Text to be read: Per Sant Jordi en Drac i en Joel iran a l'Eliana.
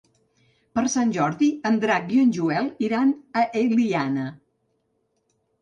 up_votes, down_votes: 3, 4